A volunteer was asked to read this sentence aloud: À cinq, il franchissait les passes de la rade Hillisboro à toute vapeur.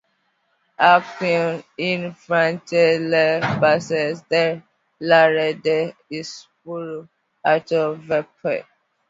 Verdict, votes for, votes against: rejected, 0, 2